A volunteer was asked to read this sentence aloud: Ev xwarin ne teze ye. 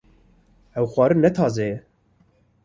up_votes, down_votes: 2, 0